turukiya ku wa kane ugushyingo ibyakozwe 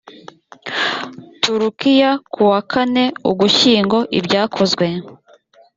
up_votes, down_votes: 2, 0